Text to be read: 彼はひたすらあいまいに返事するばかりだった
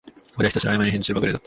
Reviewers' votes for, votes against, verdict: 1, 2, rejected